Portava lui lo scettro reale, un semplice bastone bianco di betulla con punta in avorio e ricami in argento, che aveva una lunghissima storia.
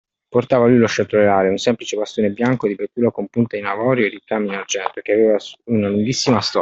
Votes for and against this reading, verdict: 0, 2, rejected